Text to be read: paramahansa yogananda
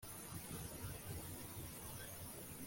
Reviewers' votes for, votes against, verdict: 0, 2, rejected